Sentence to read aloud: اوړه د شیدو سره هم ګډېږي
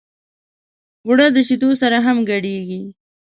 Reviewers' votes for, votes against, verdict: 2, 0, accepted